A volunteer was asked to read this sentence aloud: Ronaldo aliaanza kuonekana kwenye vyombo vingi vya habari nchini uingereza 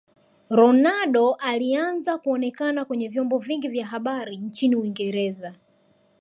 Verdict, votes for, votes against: rejected, 1, 2